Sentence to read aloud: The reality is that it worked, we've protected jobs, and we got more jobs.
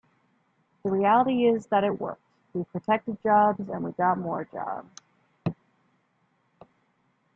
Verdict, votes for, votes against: accepted, 2, 1